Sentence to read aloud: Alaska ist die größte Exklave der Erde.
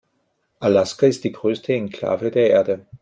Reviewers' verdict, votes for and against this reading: rejected, 0, 2